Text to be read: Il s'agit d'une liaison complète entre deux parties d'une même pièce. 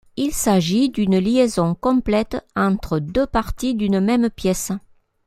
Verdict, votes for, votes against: accepted, 2, 0